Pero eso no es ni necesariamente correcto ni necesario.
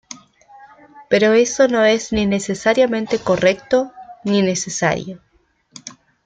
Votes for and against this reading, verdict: 2, 0, accepted